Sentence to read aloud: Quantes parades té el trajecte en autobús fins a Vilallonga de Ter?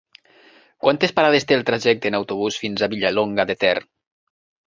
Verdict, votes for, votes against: rejected, 1, 2